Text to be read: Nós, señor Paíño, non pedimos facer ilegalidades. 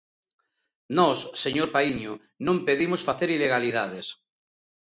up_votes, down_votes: 2, 0